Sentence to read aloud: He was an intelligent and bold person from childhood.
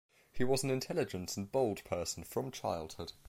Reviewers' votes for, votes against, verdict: 1, 2, rejected